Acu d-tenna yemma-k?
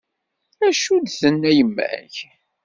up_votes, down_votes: 2, 0